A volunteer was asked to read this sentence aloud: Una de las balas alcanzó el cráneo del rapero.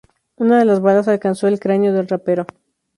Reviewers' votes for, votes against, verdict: 2, 0, accepted